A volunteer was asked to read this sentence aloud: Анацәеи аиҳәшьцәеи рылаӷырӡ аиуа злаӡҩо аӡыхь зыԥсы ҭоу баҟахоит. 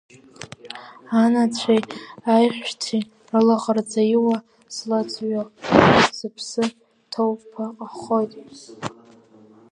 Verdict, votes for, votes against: rejected, 1, 2